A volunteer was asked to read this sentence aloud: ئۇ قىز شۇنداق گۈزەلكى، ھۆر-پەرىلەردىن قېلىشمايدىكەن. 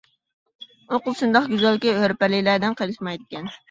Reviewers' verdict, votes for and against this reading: rejected, 0, 2